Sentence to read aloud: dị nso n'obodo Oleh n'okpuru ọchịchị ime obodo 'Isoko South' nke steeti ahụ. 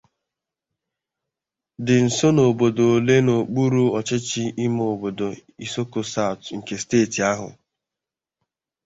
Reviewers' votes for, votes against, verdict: 2, 0, accepted